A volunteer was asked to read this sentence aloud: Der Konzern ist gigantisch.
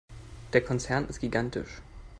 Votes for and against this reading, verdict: 2, 0, accepted